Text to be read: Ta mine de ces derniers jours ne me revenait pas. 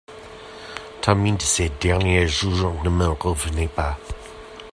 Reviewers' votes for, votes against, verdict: 0, 2, rejected